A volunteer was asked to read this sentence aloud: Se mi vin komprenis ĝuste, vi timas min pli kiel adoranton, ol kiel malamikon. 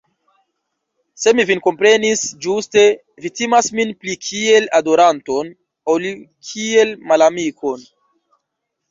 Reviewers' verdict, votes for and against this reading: accepted, 2, 1